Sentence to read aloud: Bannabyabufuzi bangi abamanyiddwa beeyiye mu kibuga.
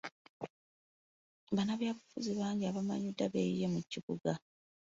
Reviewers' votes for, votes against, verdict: 3, 0, accepted